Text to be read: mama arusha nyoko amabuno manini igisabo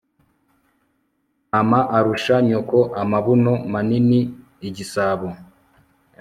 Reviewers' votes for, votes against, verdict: 1, 2, rejected